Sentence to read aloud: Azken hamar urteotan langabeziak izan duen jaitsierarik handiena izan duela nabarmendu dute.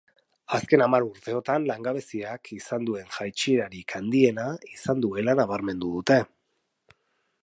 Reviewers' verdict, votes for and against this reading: accepted, 3, 0